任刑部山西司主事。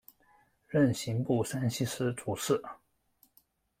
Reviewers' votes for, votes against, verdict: 2, 0, accepted